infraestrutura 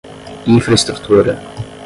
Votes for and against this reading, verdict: 5, 10, rejected